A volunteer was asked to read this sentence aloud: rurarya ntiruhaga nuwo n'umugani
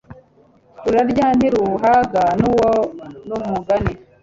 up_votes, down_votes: 2, 0